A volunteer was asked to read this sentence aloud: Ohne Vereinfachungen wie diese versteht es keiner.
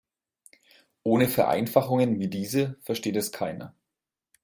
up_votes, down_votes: 2, 0